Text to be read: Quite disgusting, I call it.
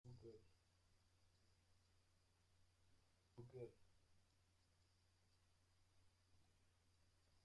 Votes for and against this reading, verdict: 0, 2, rejected